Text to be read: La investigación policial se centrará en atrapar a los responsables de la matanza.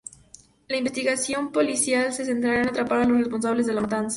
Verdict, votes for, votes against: accepted, 2, 0